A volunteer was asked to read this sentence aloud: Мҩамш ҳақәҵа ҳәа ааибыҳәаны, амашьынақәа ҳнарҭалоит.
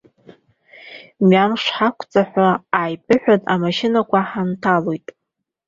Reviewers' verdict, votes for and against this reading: rejected, 0, 2